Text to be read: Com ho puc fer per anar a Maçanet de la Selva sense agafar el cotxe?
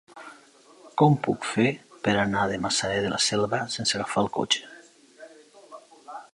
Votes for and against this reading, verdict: 0, 2, rejected